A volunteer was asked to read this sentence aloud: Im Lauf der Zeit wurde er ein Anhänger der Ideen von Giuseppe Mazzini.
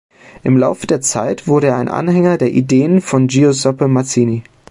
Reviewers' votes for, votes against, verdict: 2, 0, accepted